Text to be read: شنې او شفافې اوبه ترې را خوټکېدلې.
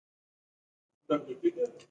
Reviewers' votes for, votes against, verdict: 1, 2, rejected